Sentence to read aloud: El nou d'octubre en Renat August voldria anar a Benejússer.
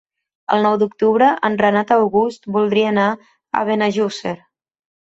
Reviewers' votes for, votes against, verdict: 2, 0, accepted